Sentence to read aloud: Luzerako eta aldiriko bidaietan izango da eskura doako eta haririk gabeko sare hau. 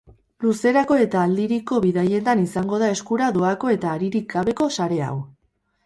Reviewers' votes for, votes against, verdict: 4, 0, accepted